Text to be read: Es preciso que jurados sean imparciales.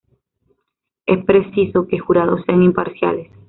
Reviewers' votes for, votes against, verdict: 0, 2, rejected